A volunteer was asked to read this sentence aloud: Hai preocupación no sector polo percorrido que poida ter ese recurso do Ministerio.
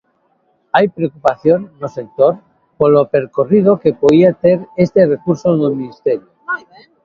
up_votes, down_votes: 0, 2